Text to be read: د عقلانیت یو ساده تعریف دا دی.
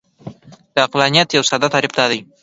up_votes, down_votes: 2, 1